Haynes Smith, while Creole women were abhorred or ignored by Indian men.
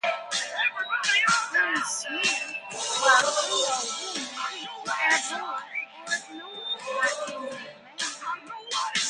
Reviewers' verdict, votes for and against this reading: rejected, 0, 2